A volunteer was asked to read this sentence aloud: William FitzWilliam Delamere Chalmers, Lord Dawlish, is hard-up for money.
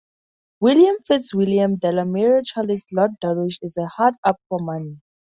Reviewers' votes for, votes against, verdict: 0, 2, rejected